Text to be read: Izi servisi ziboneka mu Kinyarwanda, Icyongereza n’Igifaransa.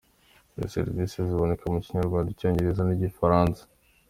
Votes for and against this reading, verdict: 2, 0, accepted